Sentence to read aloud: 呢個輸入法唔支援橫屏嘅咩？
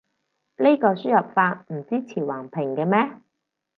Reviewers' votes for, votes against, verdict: 0, 4, rejected